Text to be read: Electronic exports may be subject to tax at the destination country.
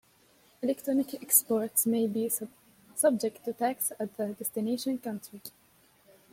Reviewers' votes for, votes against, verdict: 1, 2, rejected